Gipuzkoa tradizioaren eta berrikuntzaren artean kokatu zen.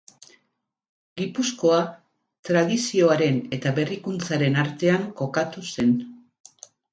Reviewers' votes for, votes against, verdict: 4, 0, accepted